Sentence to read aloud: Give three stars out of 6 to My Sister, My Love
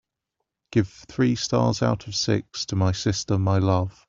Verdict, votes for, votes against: rejected, 0, 2